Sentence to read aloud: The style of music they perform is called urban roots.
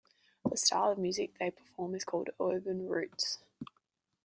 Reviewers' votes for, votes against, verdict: 2, 0, accepted